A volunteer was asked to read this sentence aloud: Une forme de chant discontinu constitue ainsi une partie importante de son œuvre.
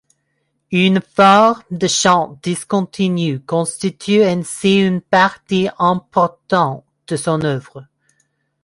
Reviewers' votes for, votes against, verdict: 1, 2, rejected